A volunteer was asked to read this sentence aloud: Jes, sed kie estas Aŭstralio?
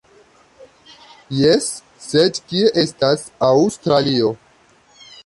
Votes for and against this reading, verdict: 2, 1, accepted